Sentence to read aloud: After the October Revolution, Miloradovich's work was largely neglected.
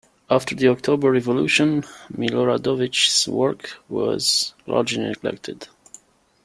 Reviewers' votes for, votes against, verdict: 2, 1, accepted